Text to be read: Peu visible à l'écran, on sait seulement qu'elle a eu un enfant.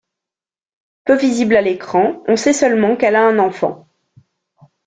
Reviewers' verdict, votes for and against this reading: rejected, 0, 2